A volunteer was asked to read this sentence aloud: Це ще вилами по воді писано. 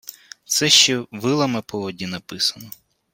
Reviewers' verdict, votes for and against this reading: rejected, 0, 2